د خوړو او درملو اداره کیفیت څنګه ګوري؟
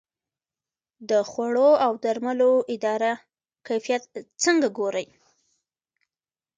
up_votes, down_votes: 2, 1